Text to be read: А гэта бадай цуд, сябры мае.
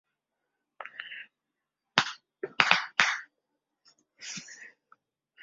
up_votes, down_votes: 0, 2